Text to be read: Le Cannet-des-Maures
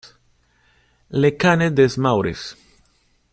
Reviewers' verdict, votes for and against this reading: rejected, 0, 2